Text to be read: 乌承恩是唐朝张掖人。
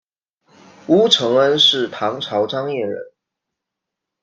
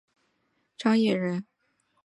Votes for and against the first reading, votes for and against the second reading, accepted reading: 2, 0, 0, 2, first